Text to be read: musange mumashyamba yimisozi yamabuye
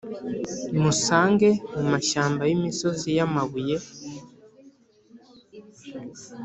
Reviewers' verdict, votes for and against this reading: accepted, 2, 0